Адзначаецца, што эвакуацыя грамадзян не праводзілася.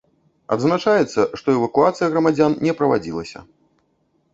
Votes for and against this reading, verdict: 0, 2, rejected